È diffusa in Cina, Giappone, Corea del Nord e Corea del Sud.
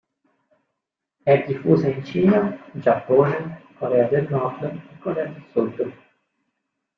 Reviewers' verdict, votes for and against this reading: rejected, 1, 2